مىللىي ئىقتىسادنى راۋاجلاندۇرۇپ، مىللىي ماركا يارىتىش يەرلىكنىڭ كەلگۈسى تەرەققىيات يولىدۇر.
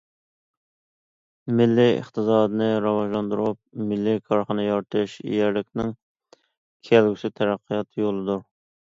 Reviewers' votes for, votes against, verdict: 1, 2, rejected